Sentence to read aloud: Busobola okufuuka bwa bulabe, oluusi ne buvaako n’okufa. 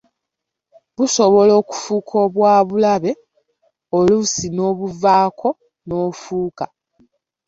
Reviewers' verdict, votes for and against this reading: rejected, 0, 2